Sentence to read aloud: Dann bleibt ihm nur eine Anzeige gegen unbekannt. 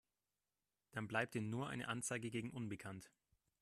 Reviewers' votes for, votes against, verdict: 0, 2, rejected